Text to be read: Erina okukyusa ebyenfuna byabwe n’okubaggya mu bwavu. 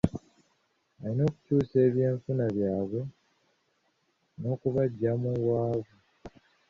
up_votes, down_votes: 1, 2